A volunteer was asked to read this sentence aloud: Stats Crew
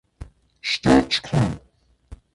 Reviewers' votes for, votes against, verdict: 0, 2, rejected